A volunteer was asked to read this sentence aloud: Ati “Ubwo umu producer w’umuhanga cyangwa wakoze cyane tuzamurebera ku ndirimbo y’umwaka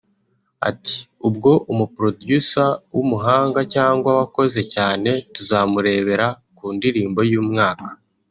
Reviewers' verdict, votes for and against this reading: rejected, 1, 2